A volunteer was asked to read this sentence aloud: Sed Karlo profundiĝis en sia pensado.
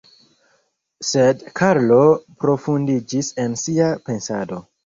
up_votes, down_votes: 1, 2